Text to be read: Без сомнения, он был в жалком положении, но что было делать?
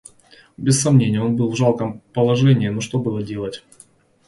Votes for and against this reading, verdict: 2, 0, accepted